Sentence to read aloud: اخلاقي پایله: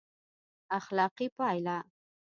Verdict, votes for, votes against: rejected, 1, 2